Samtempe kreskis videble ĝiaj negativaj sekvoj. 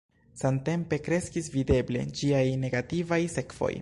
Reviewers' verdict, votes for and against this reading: rejected, 1, 2